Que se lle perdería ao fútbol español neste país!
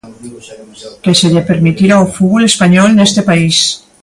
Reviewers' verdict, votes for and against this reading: rejected, 0, 2